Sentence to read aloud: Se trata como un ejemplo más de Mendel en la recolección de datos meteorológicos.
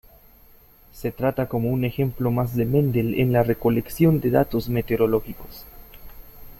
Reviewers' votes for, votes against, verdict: 2, 0, accepted